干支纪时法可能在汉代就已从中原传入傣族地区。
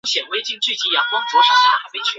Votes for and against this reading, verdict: 0, 2, rejected